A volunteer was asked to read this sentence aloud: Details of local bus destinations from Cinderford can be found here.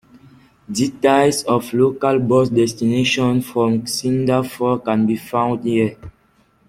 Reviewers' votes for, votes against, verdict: 0, 2, rejected